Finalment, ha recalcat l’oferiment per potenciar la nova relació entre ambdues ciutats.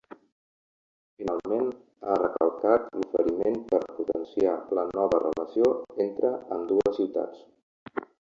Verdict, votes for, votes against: rejected, 1, 3